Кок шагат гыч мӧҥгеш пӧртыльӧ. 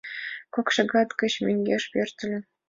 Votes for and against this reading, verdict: 2, 0, accepted